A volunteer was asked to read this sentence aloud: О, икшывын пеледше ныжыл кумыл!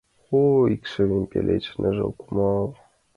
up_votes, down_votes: 2, 1